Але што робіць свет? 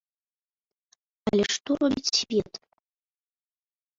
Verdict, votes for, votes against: rejected, 1, 2